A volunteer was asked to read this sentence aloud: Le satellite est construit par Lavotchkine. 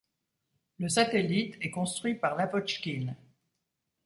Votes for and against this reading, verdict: 2, 0, accepted